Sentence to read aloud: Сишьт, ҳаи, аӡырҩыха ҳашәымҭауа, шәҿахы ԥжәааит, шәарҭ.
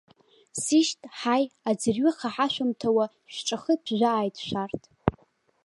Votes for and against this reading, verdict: 2, 1, accepted